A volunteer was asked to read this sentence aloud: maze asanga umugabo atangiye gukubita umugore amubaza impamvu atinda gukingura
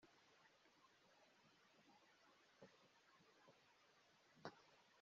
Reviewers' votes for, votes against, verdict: 1, 2, rejected